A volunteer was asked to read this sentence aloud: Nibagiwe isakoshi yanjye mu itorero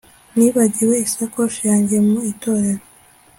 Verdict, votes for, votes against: accepted, 2, 0